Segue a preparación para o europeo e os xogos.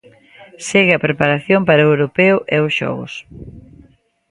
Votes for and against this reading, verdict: 2, 0, accepted